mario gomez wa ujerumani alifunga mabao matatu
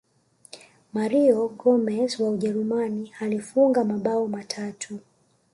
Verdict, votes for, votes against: rejected, 1, 2